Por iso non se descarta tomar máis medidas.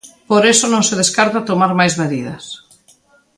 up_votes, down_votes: 0, 2